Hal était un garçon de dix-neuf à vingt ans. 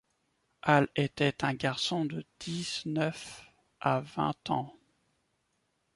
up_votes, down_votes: 2, 1